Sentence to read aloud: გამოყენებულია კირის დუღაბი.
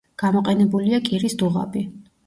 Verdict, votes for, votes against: accepted, 2, 0